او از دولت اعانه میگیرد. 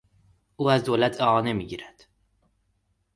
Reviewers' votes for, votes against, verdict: 2, 0, accepted